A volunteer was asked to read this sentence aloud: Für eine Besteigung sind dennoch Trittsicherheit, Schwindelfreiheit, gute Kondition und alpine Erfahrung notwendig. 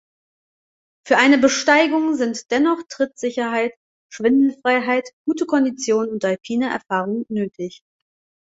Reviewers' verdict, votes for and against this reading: rejected, 1, 2